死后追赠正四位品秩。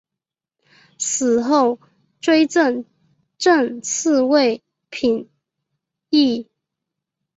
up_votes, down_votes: 2, 0